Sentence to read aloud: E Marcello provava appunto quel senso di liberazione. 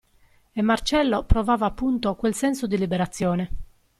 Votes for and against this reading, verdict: 2, 0, accepted